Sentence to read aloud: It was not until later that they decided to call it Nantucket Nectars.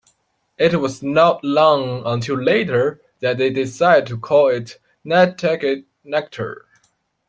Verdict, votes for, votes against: rejected, 2, 3